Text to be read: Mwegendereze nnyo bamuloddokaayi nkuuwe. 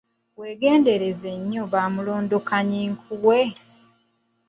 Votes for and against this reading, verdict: 1, 2, rejected